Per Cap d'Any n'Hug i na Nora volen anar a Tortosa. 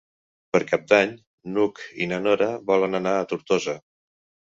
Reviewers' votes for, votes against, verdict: 3, 0, accepted